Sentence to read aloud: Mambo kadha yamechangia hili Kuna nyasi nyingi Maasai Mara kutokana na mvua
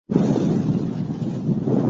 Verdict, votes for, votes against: rejected, 0, 2